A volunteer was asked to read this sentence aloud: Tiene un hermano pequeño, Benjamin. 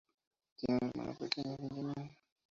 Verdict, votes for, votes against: rejected, 0, 2